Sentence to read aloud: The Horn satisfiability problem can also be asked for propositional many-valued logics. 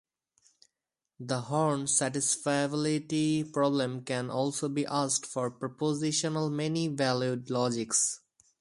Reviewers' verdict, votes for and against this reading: accepted, 2, 0